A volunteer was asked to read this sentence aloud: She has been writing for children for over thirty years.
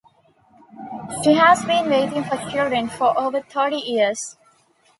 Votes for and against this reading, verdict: 1, 2, rejected